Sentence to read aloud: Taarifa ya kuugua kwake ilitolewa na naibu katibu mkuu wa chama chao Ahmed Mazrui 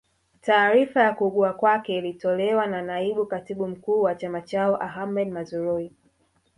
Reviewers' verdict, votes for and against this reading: accepted, 8, 0